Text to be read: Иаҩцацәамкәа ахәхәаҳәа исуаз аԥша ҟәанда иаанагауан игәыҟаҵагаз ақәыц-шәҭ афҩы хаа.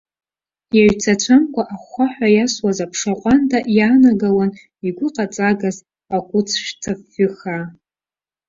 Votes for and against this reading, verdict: 1, 2, rejected